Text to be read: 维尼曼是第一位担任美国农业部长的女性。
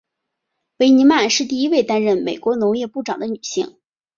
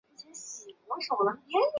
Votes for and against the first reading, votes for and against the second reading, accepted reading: 3, 1, 0, 5, first